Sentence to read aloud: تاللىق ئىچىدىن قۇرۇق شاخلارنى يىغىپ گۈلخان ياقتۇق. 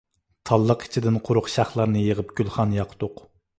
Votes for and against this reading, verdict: 2, 0, accepted